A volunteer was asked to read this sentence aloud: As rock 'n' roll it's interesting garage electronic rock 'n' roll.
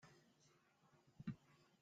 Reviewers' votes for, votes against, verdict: 0, 2, rejected